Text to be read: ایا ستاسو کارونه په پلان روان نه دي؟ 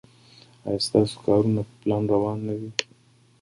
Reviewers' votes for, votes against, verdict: 2, 0, accepted